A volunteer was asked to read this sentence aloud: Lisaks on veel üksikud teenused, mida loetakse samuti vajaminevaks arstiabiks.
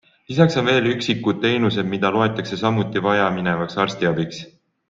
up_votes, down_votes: 2, 0